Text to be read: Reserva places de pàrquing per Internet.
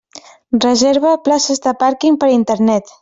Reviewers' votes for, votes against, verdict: 3, 0, accepted